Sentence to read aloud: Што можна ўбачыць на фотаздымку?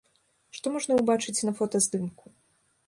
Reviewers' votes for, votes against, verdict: 2, 0, accepted